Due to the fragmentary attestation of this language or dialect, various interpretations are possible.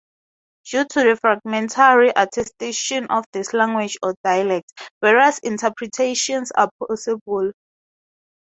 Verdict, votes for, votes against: accepted, 8, 4